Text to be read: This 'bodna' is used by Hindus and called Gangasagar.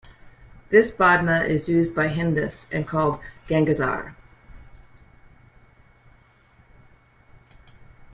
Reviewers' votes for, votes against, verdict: 0, 2, rejected